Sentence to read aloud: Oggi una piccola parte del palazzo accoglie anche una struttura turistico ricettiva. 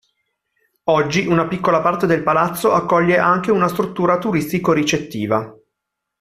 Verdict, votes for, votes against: accepted, 2, 0